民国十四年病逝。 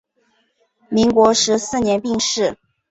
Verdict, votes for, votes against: accepted, 4, 0